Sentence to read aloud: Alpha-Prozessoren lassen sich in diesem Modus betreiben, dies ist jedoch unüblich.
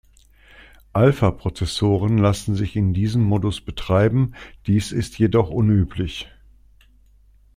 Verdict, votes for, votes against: accepted, 2, 0